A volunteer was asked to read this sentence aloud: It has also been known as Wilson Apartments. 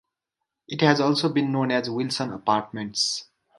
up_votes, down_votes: 4, 0